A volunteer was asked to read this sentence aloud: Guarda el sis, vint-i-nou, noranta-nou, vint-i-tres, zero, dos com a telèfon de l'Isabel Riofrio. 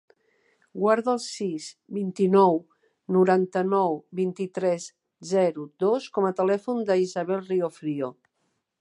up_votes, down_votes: 1, 2